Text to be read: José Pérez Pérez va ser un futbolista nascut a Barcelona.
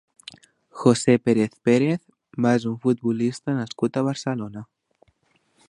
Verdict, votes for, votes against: rejected, 1, 2